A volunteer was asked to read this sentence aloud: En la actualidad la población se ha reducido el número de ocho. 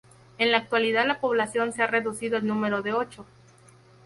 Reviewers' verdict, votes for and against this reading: rejected, 0, 2